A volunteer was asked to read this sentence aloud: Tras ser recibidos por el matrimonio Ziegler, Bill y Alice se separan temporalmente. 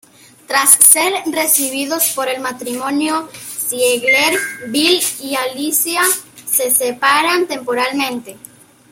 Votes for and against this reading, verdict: 1, 2, rejected